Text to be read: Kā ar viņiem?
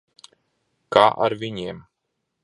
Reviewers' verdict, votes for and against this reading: rejected, 1, 2